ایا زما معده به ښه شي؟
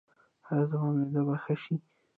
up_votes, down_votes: 0, 2